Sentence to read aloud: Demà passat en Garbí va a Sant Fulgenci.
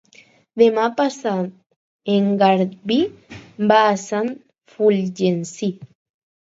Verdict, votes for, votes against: rejected, 0, 4